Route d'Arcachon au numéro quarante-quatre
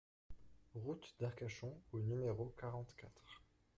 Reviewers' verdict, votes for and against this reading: rejected, 0, 2